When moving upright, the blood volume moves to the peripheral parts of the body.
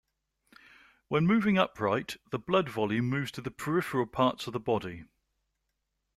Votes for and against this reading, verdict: 2, 0, accepted